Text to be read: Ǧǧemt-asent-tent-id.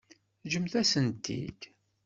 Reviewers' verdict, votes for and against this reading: rejected, 1, 2